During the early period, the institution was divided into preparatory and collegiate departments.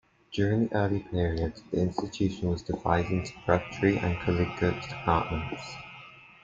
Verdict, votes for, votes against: rejected, 0, 2